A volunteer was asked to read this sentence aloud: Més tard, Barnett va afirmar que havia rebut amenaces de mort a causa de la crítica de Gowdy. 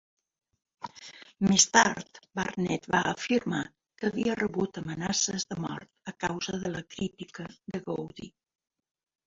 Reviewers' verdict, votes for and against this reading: accepted, 2, 0